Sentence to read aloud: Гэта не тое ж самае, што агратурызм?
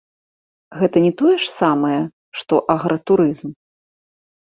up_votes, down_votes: 2, 0